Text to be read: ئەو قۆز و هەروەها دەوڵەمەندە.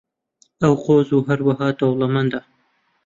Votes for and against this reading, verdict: 2, 0, accepted